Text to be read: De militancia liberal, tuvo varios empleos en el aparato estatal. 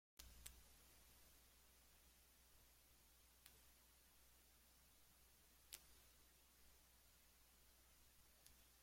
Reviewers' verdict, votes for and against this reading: rejected, 0, 2